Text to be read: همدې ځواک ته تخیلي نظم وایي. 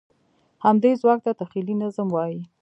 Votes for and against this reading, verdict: 4, 0, accepted